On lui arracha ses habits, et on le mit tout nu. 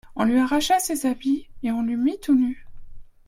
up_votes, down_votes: 1, 2